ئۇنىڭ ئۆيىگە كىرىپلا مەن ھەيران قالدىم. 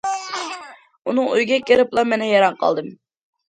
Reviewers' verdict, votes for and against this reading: rejected, 1, 2